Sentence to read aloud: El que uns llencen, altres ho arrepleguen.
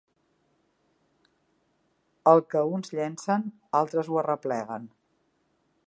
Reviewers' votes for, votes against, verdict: 2, 0, accepted